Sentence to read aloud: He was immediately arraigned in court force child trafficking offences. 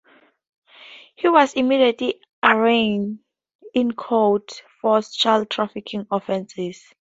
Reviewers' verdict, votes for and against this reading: accepted, 4, 0